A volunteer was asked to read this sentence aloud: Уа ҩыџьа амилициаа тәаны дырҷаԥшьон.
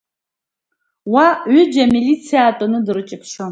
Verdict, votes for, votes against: accepted, 2, 1